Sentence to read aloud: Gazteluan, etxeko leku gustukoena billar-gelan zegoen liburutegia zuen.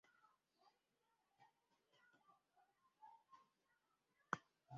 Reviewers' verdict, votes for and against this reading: rejected, 0, 2